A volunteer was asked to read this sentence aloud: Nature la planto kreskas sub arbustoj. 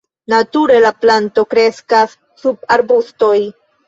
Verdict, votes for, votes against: rejected, 0, 2